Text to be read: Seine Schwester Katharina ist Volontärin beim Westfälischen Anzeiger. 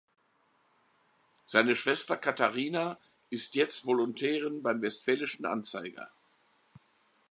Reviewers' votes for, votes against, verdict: 1, 3, rejected